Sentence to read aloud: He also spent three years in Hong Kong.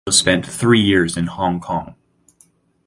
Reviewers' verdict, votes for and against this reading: rejected, 0, 4